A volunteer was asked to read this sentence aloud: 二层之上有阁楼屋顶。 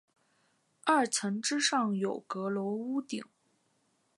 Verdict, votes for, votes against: accepted, 3, 0